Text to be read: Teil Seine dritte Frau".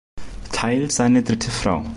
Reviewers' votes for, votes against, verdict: 1, 2, rejected